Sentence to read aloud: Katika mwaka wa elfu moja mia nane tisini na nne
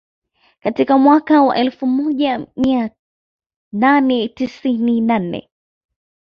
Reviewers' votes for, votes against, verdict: 2, 0, accepted